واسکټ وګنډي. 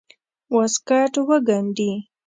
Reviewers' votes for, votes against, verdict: 2, 0, accepted